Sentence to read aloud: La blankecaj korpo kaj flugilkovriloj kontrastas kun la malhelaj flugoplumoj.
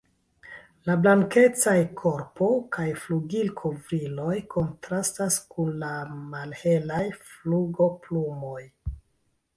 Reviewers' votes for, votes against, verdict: 1, 2, rejected